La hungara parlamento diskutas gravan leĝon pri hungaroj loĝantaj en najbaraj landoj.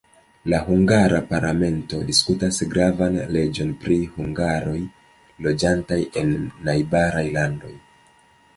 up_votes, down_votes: 2, 0